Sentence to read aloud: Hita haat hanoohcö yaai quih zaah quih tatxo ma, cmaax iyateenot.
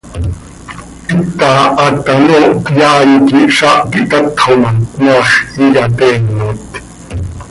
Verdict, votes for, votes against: accepted, 2, 0